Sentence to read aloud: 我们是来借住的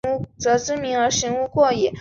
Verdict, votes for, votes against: rejected, 1, 2